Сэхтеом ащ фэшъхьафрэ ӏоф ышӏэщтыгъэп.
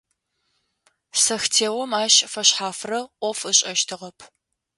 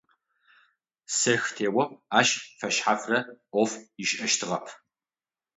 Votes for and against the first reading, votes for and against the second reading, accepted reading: 2, 0, 3, 6, first